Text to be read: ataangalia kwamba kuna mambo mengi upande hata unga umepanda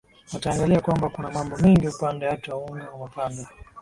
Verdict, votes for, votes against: rejected, 0, 2